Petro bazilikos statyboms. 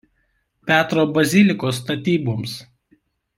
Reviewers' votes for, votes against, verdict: 2, 0, accepted